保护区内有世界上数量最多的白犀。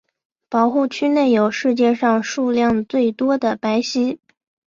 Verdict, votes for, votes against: accepted, 5, 1